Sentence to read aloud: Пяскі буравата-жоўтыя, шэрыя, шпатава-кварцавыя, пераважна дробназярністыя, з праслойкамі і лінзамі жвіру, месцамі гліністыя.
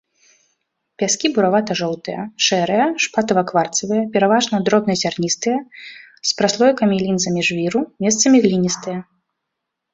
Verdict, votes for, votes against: accepted, 2, 0